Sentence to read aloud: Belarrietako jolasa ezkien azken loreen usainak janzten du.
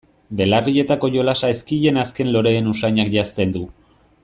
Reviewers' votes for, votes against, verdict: 2, 0, accepted